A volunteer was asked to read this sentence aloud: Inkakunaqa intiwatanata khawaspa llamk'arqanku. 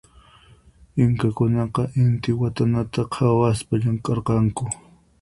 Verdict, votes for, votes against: accepted, 4, 0